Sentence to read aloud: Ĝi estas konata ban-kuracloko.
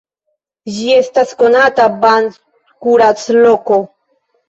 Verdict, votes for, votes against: accepted, 2, 0